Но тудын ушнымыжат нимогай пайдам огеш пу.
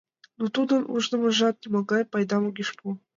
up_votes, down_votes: 2, 1